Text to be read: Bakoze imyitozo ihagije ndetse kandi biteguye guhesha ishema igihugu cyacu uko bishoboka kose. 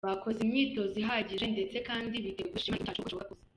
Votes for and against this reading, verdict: 1, 2, rejected